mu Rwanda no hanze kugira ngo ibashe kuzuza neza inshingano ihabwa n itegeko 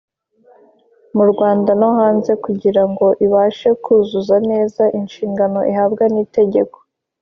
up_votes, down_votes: 2, 0